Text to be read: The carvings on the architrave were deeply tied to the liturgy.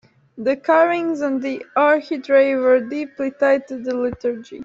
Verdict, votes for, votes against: rejected, 1, 2